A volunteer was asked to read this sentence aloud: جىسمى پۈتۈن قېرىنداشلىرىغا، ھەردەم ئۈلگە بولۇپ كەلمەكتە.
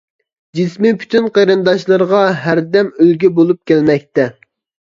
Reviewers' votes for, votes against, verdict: 2, 0, accepted